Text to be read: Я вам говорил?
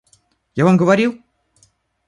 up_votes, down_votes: 2, 0